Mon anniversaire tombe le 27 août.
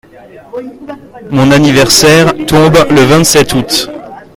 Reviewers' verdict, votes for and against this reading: rejected, 0, 2